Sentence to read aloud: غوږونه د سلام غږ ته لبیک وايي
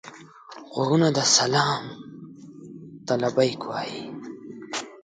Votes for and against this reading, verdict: 0, 2, rejected